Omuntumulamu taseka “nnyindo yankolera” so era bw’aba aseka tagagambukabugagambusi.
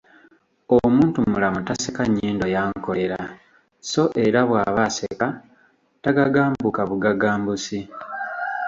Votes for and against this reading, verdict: 2, 0, accepted